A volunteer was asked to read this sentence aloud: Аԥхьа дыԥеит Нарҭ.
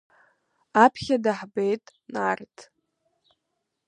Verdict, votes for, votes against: rejected, 0, 2